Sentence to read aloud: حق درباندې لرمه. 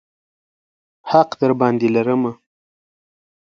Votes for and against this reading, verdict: 2, 0, accepted